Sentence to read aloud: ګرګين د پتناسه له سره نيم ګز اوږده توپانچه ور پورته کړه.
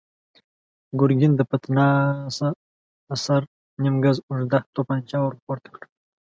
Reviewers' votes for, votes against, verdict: 1, 2, rejected